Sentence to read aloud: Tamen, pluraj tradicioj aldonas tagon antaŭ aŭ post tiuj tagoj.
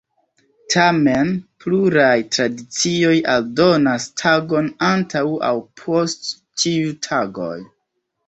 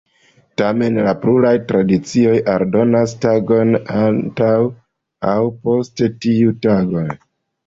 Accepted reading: first